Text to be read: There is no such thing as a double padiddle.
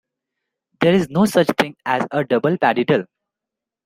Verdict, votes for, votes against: rejected, 1, 2